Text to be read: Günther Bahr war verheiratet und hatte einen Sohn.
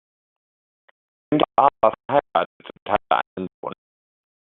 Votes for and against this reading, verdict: 0, 2, rejected